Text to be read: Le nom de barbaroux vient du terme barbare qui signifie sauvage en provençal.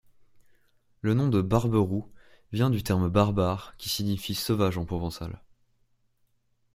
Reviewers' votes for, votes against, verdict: 2, 0, accepted